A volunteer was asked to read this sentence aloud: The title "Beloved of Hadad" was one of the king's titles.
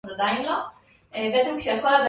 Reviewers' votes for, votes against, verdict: 0, 2, rejected